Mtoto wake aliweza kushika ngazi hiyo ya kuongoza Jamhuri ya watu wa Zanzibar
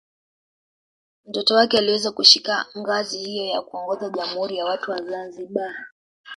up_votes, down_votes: 0, 3